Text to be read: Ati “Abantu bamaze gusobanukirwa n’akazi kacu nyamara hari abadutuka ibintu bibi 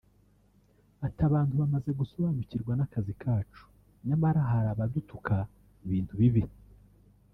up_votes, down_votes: 2, 1